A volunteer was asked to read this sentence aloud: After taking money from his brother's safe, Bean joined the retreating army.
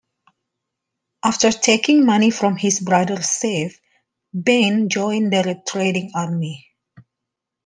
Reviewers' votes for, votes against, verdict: 2, 0, accepted